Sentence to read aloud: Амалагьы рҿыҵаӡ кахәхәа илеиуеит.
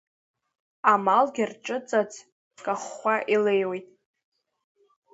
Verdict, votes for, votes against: rejected, 1, 3